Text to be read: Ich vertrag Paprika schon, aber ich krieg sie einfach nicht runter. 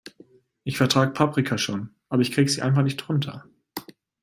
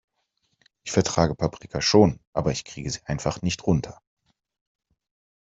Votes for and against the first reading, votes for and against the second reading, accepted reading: 2, 0, 0, 2, first